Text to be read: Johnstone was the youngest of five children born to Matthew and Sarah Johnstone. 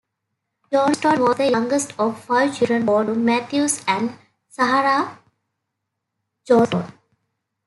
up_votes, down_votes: 0, 3